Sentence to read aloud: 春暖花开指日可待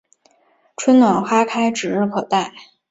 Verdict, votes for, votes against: accepted, 4, 0